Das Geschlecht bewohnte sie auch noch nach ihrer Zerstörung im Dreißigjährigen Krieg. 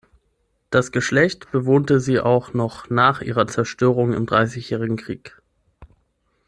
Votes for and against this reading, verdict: 6, 0, accepted